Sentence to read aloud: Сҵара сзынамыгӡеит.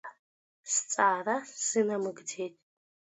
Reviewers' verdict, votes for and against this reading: rejected, 1, 2